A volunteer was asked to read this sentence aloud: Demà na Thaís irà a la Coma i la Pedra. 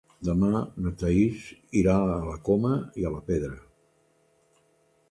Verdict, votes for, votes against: rejected, 0, 2